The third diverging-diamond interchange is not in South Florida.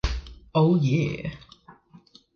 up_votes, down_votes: 0, 2